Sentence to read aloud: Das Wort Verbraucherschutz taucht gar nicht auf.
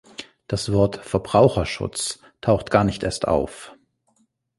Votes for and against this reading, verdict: 0, 2, rejected